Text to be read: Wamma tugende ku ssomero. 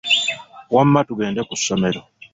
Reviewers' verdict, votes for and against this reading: accepted, 2, 0